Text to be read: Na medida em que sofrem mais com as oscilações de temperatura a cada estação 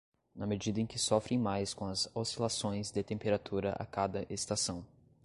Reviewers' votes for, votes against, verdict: 2, 0, accepted